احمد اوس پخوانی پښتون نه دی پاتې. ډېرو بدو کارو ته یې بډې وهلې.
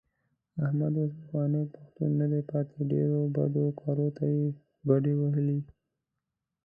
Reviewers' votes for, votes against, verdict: 0, 2, rejected